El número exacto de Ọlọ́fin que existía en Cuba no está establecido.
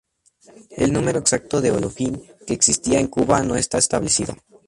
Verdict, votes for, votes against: accepted, 2, 0